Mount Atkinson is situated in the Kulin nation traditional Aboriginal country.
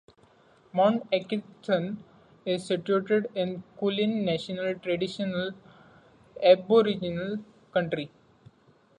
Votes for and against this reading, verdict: 0, 2, rejected